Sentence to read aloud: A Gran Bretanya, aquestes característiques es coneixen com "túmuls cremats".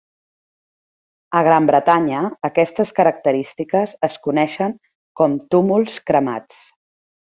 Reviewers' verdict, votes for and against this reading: accepted, 3, 0